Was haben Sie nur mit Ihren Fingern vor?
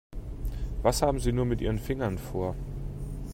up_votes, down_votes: 2, 0